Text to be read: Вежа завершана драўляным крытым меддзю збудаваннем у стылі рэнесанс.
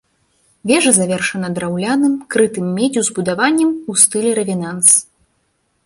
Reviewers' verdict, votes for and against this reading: rejected, 0, 2